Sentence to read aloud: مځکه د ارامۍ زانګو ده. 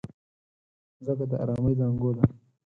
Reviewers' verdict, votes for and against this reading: rejected, 2, 4